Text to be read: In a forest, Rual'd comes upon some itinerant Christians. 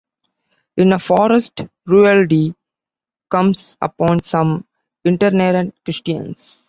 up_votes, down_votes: 2, 1